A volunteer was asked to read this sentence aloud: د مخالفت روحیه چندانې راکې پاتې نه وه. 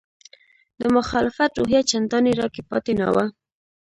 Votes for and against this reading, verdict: 2, 0, accepted